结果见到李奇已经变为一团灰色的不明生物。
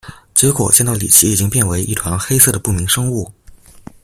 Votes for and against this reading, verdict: 1, 2, rejected